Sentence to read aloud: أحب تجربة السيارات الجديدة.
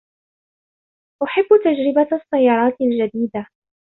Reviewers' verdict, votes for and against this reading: accepted, 3, 0